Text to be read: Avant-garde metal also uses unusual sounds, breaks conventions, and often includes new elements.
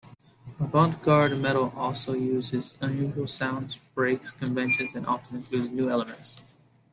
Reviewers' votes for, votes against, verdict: 2, 0, accepted